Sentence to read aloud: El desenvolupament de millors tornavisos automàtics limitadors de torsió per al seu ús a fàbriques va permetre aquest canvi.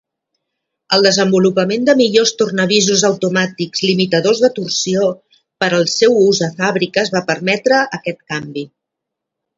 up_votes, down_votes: 2, 0